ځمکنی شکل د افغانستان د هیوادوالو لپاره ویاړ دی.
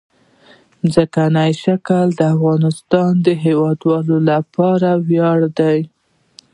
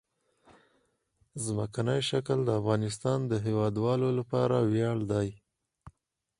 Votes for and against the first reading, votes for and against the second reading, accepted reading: 0, 2, 4, 0, second